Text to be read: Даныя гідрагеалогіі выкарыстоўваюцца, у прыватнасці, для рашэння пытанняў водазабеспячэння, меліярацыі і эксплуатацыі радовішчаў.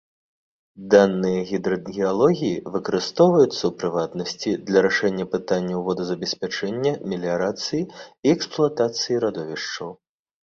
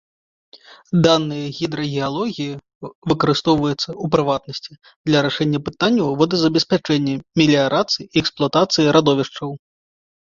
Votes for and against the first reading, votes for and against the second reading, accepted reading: 2, 0, 0, 2, first